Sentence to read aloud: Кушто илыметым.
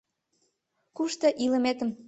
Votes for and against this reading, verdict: 2, 0, accepted